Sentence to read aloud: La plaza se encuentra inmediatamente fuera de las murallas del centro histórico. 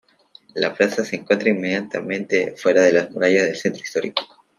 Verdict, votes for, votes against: accepted, 2, 0